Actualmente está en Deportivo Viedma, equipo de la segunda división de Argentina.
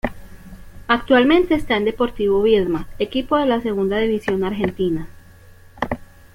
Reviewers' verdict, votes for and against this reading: accepted, 2, 0